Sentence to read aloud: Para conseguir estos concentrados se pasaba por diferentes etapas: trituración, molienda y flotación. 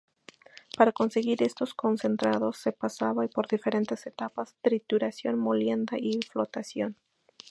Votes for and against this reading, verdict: 0, 2, rejected